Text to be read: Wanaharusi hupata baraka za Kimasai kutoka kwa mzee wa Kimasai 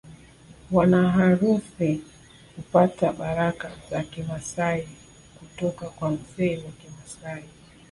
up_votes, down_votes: 2, 0